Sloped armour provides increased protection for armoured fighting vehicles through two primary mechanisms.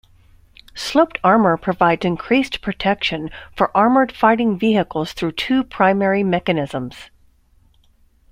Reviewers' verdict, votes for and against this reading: accepted, 2, 0